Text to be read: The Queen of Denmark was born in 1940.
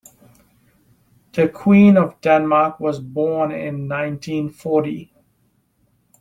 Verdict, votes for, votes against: rejected, 0, 2